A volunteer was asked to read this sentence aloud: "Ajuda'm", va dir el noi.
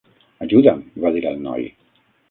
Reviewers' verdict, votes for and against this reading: rejected, 3, 6